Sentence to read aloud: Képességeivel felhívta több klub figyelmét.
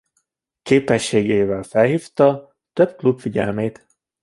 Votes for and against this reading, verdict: 2, 1, accepted